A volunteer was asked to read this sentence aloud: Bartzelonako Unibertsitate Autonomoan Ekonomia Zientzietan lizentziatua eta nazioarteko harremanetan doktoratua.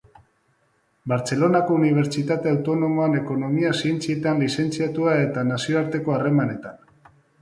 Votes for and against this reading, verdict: 0, 2, rejected